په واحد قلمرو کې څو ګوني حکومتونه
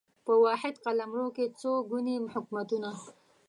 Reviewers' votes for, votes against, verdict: 0, 2, rejected